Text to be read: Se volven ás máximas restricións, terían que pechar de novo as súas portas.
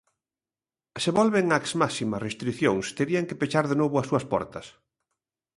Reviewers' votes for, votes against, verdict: 2, 0, accepted